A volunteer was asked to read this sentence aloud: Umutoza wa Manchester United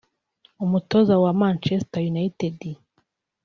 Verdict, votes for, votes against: accepted, 2, 0